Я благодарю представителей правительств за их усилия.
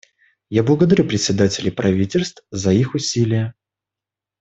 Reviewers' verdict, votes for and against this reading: rejected, 0, 2